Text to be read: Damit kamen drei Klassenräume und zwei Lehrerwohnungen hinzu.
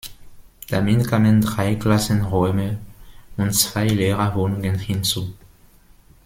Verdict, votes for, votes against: rejected, 0, 2